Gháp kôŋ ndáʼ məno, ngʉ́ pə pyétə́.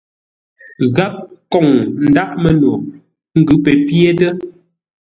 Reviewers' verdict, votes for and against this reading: accepted, 2, 0